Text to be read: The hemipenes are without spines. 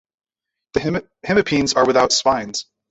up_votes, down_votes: 0, 2